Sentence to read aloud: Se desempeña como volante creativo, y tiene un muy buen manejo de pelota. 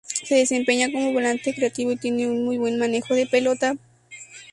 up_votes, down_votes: 0, 2